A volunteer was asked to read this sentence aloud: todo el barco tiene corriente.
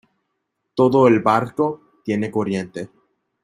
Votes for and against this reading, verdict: 2, 1, accepted